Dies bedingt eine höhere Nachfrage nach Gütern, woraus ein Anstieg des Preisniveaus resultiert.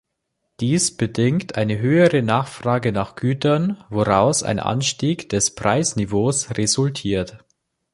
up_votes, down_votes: 2, 0